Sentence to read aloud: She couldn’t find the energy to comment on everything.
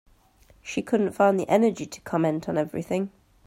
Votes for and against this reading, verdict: 2, 0, accepted